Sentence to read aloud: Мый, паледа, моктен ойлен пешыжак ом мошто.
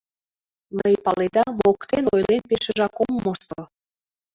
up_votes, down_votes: 2, 0